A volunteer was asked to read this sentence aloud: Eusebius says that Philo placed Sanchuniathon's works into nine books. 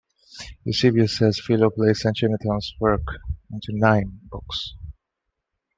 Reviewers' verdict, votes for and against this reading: rejected, 0, 2